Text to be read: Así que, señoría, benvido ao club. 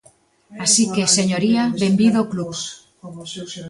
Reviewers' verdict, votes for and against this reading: rejected, 1, 2